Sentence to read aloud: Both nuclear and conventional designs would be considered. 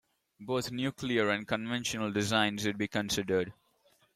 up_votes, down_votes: 2, 1